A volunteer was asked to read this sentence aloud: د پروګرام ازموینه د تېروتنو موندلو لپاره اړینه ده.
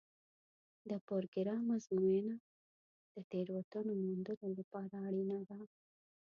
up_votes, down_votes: 1, 2